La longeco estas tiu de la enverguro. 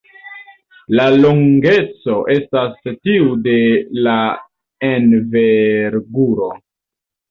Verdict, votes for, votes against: rejected, 0, 2